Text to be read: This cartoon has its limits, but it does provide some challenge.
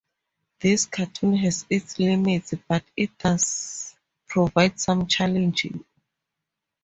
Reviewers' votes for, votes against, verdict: 0, 2, rejected